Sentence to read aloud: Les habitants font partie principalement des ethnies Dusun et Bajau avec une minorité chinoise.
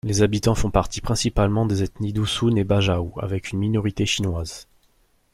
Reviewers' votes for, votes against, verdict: 2, 0, accepted